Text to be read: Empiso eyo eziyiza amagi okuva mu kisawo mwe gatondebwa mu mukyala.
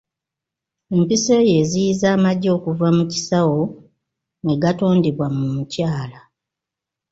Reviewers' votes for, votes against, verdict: 2, 1, accepted